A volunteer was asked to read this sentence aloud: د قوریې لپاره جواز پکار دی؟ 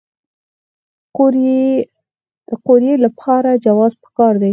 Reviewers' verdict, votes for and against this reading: rejected, 0, 4